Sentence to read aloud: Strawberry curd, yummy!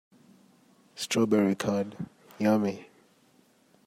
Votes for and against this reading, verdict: 2, 0, accepted